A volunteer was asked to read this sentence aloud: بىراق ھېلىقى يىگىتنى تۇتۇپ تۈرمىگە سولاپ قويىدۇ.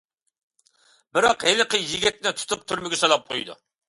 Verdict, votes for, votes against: accepted, 2, 0